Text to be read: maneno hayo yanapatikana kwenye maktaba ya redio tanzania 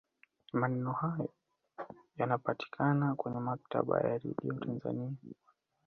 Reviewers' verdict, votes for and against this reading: rejected, 1, 2